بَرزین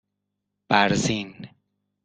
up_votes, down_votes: 2, 0